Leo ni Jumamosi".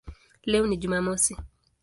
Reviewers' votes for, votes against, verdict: 2, 0, accepted